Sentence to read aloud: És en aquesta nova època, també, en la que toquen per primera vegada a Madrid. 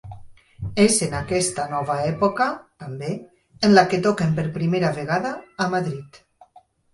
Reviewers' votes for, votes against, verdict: 4, 0, accepted